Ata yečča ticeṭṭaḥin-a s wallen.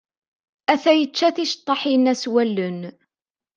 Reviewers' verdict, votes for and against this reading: accepted, 2, 0